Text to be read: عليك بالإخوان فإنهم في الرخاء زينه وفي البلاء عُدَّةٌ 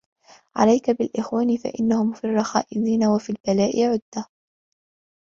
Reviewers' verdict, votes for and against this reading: accepted, 2, 1